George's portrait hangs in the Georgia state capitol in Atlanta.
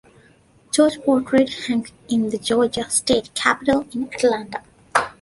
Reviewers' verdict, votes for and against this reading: rejected, 1, 2